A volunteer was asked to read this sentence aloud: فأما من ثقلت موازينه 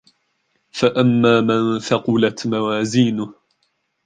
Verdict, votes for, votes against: rejected, 1, 2